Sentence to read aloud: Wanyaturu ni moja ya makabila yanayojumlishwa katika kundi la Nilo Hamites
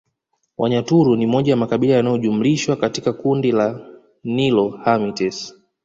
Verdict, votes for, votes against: accepted, 2, 0